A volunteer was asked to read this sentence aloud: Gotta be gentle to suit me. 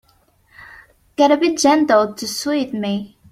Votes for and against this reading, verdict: 0, 2, rejected